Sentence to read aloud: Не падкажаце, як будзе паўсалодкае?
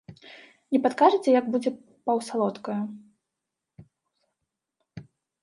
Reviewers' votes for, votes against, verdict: 1, 2, rejected